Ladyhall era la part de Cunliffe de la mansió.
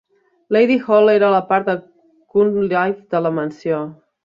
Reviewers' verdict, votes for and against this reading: rejected, 1, 2